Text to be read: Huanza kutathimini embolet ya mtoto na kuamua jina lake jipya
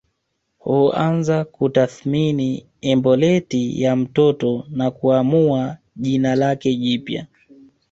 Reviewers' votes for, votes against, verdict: 1, 2, rejected